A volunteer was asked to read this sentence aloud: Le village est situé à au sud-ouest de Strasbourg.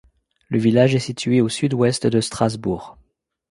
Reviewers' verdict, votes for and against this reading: rejected, 1, 2